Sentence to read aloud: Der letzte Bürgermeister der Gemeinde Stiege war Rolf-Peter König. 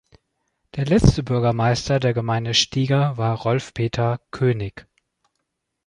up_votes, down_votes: 0, 2